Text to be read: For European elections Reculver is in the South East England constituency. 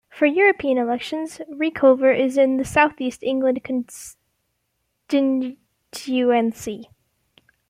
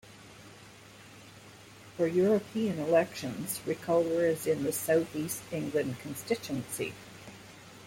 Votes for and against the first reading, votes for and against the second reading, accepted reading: 1, 2, 2, 0, second